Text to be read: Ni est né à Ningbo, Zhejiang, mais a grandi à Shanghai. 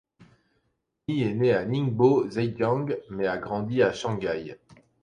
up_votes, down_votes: 2, 0